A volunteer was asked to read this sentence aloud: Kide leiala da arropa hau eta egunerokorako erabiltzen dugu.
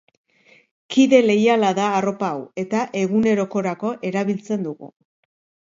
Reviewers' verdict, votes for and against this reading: accepted, 2, 0